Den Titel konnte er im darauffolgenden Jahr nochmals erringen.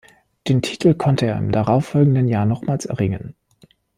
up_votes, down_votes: 2, 0